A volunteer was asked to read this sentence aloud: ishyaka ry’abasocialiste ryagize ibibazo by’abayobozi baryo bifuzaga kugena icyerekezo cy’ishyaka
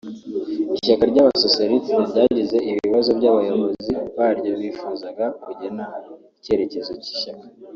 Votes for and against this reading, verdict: 5, 0, accepted